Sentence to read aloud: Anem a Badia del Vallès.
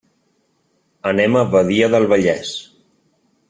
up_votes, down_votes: 3, 0